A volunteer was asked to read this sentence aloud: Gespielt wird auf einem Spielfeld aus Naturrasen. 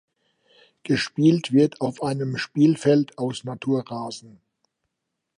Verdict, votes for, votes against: accepted, 2, 0